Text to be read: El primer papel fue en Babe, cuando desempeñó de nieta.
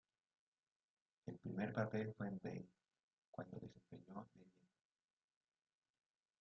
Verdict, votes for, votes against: rejected, 1, 2